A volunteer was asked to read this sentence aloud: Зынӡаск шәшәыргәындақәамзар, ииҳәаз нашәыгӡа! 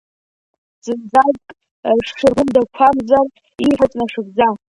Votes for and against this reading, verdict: 2, 1, accepted